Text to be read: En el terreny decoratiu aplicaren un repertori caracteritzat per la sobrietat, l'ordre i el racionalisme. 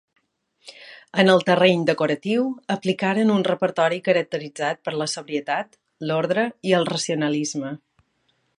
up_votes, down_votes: 3, 0